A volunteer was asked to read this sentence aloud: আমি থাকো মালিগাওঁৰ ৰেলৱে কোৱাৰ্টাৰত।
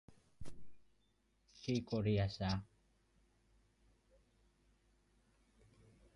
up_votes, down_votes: 0, 2